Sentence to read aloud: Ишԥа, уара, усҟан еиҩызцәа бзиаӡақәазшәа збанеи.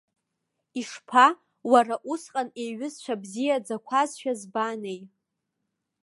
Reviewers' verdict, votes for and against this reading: accepted, 2, 0